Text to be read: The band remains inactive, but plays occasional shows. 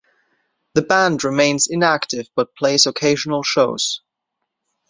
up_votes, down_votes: 2, 0